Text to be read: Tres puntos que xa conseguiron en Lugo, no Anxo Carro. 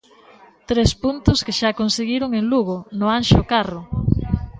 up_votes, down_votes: 1, 2